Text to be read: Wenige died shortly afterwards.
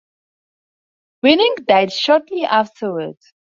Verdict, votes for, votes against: rejected, 2, 2